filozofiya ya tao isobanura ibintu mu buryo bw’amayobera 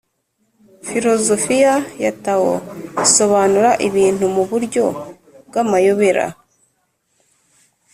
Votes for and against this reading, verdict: 3, 0, accepted